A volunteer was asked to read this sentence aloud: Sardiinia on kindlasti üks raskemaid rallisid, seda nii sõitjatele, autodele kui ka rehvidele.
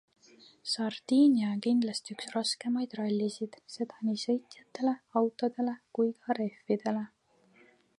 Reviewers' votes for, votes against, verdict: 2, 0, accepted